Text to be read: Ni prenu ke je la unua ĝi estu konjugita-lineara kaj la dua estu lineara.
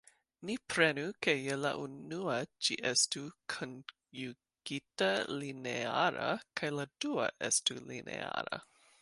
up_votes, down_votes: 2, 0